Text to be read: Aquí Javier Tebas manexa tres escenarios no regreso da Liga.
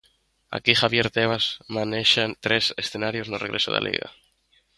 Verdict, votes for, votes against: rejected, 1, 2